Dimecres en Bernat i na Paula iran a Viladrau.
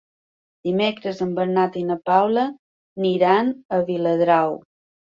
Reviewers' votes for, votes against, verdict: 2, 1, accepted